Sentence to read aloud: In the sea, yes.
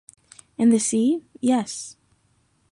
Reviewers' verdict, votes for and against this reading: accepted, 2, 0